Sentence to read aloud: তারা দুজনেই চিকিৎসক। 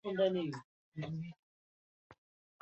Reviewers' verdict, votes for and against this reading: rejected, 0, 2